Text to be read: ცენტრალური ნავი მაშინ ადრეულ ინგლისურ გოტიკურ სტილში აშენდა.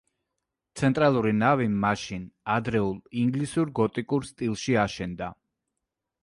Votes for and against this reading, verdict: 2, 0, accepted